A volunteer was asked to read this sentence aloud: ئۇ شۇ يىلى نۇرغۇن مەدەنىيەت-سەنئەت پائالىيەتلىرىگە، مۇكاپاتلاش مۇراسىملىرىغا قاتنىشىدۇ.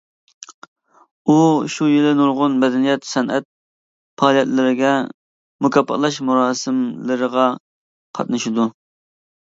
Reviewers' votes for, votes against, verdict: 2, 0, accepted